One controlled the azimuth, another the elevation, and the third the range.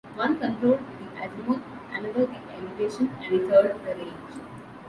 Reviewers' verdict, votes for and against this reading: accepted, 2, 0